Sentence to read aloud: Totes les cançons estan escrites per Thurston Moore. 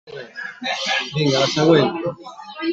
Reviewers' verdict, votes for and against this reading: rejected, 0, 2